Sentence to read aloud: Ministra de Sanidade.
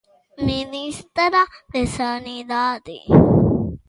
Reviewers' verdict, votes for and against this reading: accepted, 2, 0